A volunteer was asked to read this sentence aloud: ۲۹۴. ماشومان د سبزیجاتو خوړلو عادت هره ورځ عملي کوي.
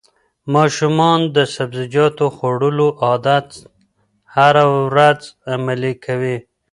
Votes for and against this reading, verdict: 0, 2, rejected